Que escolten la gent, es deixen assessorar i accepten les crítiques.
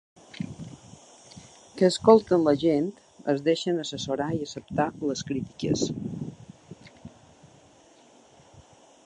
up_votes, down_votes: 1, 2